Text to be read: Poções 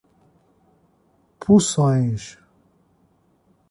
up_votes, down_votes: 1, 2